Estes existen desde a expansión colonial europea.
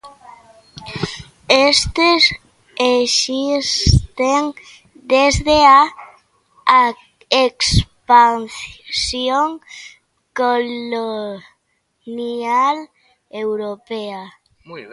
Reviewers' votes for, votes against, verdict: 1, 2, rejected